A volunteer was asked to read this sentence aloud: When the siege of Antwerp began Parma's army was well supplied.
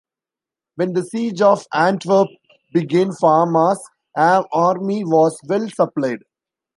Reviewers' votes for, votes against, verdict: 1, 2, rejected